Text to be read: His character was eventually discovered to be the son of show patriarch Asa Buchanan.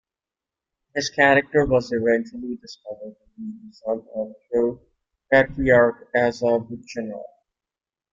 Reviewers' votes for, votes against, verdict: 1, 2, rejected